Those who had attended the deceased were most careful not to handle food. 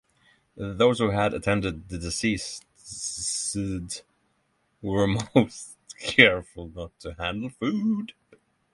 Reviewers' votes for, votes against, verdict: 0, 6, rejected